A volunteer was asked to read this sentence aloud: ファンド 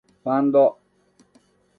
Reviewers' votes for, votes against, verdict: 2, 0, accepted